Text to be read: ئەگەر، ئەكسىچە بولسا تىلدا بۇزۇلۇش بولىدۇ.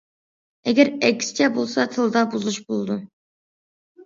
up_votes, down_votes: 2, 0